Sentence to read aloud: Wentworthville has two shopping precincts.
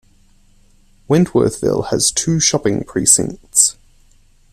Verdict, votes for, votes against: accepted, 2, 0